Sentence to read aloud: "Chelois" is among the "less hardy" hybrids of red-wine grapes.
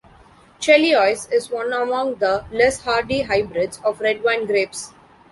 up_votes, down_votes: 1, 2